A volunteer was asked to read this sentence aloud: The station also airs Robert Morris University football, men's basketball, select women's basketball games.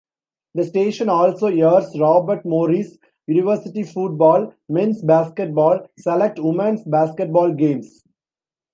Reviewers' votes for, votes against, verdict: 1, 2, rejected